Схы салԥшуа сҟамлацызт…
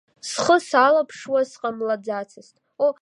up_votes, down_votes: 0, 2